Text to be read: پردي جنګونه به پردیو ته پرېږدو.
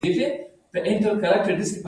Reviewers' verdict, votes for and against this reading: rejected, 0, 2